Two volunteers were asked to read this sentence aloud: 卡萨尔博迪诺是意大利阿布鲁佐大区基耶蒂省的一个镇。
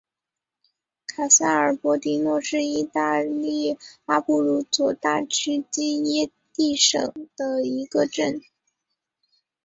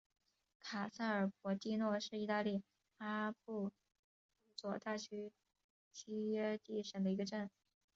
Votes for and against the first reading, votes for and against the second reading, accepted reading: 5, 0, 0, 2, first